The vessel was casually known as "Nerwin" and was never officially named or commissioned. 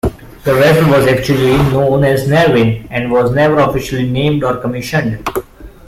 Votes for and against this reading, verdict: 1, 2, rejected